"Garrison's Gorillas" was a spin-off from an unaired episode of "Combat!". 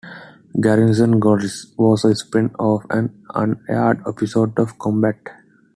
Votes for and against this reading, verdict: 2, 1, accepted